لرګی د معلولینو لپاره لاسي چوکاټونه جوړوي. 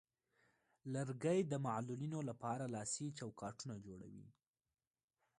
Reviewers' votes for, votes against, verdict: 1, 2, rejected